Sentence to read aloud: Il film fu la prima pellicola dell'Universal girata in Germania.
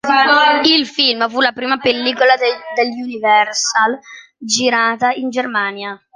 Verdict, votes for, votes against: rejected, 0, 2